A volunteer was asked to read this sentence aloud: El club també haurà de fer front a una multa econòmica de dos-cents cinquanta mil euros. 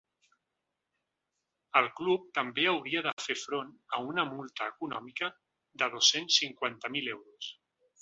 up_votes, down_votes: 0, 2